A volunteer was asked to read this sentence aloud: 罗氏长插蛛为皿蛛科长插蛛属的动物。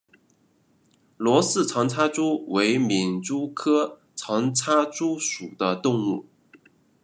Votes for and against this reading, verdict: 2, 1, accepted